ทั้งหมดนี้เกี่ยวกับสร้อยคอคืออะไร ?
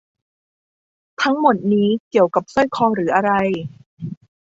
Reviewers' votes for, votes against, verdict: 0, 2, rejected